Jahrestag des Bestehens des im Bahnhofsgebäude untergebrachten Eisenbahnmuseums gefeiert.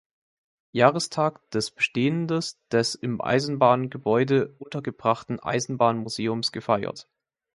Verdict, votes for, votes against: rejected, 0, 3